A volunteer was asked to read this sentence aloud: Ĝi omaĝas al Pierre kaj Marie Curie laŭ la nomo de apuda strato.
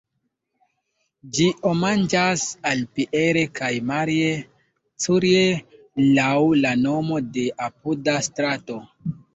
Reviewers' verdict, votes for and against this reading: rejected, 2, 3